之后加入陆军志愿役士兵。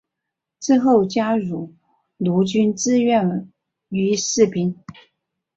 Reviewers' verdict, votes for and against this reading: rejected, 1, 2